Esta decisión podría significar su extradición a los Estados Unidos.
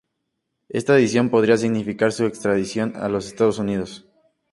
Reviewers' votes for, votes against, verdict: 0, 2, rejected